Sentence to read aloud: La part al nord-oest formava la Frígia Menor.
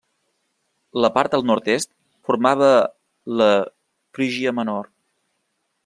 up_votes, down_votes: 0, 2